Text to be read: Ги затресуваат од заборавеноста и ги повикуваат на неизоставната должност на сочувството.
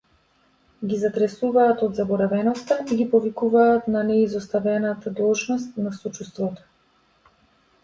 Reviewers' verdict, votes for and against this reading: accepted, 2, 1